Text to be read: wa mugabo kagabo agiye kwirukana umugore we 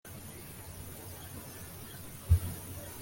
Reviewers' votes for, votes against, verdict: 0, 2, rejected